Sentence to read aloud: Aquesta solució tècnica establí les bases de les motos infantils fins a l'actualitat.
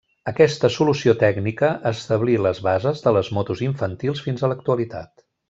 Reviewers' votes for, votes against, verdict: 3, 0, accepted